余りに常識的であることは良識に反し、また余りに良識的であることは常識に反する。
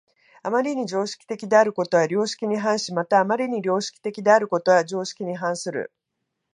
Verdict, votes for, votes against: accepted, 2, 0